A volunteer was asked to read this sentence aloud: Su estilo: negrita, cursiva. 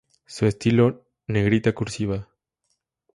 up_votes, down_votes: 2, 0